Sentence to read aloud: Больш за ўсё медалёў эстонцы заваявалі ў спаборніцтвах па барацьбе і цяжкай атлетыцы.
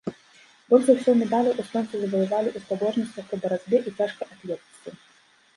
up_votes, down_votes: 1, 2